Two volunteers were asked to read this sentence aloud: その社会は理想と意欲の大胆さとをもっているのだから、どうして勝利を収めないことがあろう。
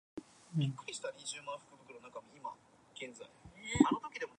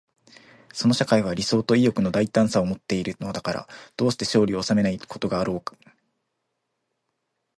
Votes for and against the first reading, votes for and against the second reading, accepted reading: 0, 2, 2, 0, second